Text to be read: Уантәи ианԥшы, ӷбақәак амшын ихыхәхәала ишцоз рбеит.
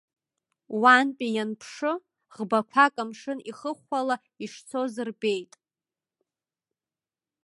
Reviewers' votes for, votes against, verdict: 2, 0, accepted